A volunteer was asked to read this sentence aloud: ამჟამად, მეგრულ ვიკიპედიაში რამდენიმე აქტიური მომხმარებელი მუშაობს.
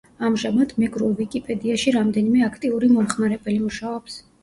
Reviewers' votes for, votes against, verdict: 2, 0, accepted